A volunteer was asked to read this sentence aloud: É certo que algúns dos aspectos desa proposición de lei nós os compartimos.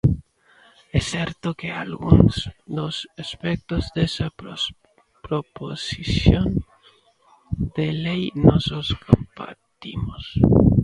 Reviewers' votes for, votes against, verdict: 0, 2, rejected